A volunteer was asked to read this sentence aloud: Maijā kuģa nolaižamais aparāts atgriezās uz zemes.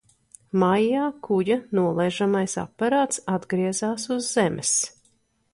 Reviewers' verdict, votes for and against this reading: accepted, 2, 0